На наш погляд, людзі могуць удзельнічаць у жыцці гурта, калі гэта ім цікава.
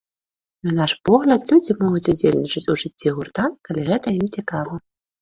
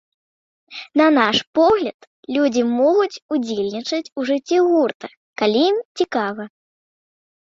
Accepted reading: first